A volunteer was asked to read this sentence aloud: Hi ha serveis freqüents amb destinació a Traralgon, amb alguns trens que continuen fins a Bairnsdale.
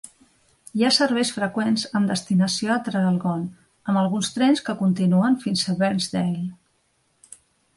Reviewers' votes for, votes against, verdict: 2, 0, accepted